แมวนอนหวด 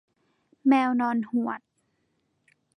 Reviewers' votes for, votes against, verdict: 2, 0, accepted